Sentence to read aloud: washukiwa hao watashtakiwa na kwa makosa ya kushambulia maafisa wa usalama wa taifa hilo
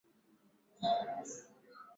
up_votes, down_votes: 0, 3